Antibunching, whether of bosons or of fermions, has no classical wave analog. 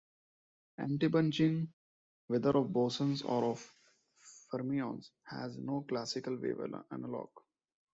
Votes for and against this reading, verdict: 0, 2, rejected